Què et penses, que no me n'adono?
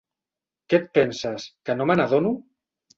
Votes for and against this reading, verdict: 3, 0, accepted